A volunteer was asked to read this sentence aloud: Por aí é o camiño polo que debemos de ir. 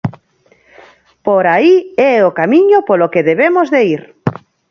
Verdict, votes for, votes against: accepted, 4, 0